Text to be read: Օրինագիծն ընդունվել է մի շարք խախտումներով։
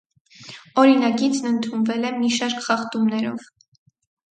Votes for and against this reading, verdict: 4, 0, accepted